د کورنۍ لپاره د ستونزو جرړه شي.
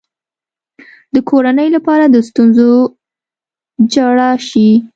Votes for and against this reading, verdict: 1, 2, rejected